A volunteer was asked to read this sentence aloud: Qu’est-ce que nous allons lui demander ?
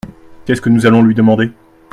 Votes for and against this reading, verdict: 2, 0, accepted